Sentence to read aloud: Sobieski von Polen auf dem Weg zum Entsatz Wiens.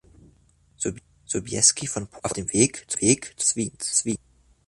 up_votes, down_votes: 0, 2